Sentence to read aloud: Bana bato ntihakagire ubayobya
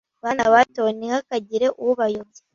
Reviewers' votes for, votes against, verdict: 2, 0, accepted